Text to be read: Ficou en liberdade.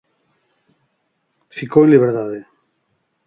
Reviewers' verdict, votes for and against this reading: rejected, 2, 4